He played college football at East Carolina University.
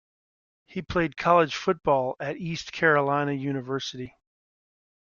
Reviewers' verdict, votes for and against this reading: accepted, 4, 0